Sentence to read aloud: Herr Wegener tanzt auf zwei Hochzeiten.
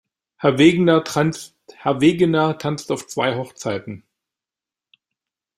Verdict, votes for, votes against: rejected, 0, 2